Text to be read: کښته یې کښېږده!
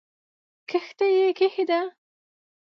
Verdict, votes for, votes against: rejected, 1, 2